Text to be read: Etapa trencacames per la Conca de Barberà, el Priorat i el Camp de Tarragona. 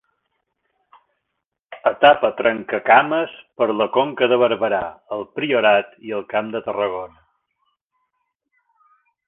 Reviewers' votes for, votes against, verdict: 2, 0, accepted